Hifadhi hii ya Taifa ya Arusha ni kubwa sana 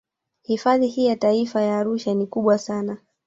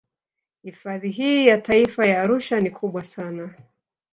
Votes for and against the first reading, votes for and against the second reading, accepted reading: 2, 1, 1, 2, first